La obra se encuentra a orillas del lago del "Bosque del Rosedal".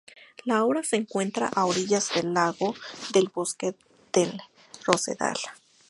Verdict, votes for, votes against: accepted, 2, 0